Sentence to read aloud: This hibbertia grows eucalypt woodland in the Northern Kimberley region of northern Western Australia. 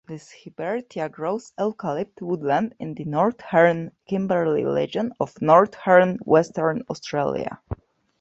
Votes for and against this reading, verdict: 0, 2, rejected